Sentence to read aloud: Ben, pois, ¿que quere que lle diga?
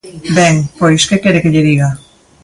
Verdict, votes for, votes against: accepted, 2, 0